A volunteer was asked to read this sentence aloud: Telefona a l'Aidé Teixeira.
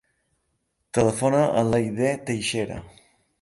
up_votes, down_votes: 0, 2